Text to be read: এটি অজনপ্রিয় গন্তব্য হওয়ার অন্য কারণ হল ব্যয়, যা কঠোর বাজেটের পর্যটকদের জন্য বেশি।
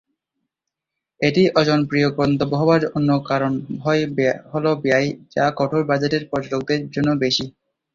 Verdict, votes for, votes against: rejected, 1, 2